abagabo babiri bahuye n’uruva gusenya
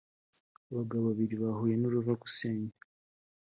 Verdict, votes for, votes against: accepted, 3, 0